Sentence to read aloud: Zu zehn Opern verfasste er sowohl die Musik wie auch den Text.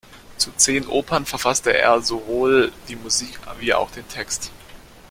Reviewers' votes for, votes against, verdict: 2, 0, accepted